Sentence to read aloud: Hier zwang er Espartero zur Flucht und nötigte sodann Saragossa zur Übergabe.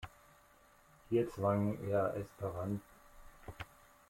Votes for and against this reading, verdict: 0, 2, rejected